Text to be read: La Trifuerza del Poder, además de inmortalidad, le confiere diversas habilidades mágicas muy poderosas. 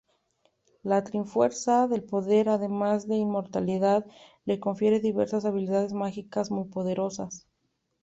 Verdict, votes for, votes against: rejected, 1, 2